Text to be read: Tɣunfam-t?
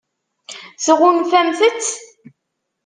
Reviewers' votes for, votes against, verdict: 0, 2, rejected